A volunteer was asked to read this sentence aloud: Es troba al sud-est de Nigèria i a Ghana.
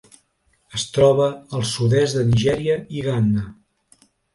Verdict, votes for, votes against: rejected, 1, 2